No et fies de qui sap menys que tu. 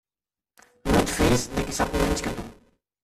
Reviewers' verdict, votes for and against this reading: rejected, 0, 2